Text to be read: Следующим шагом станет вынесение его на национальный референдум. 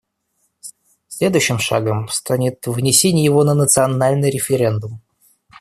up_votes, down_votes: 2, 1